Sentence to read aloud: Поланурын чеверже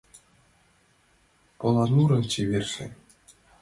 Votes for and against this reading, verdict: 2, 0, accepted